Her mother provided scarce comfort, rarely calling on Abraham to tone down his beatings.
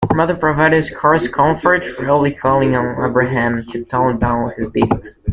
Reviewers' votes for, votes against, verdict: 1, 2, rejected